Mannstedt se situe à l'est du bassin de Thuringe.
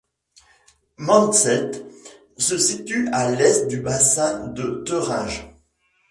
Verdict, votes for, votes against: rejected, 1, 2